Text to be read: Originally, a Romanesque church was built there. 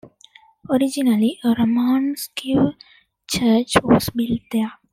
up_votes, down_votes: 1, 2